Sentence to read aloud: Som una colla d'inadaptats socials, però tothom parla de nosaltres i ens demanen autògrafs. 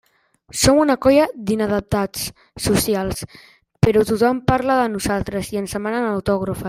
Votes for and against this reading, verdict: 0, 2, rejected